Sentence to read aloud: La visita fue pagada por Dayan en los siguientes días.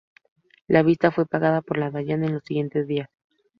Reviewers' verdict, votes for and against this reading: accepted, 2, 0